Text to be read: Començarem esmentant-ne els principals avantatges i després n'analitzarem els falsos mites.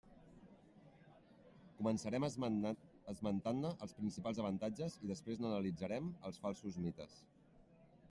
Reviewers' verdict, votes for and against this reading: rejected, 0, 2